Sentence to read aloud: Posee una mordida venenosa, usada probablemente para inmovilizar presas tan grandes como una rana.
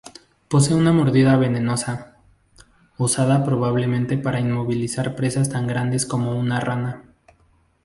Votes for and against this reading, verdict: 2, 2, rejected